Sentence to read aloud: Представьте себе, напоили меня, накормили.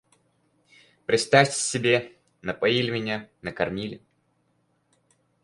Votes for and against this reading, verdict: 4, 0, accepted